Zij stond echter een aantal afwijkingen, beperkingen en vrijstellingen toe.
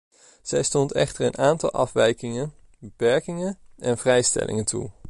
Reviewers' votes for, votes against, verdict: 2, 0, accepted